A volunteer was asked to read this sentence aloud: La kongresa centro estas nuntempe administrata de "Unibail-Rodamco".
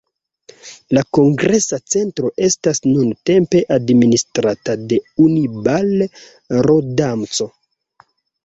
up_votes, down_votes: 1, 2